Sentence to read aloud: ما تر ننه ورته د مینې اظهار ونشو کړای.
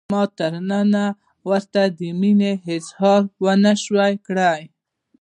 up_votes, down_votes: 1, 2